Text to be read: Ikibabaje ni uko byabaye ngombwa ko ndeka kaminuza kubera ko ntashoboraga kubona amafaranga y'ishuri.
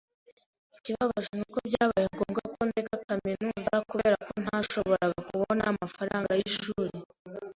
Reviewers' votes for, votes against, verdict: 0, 2, rejected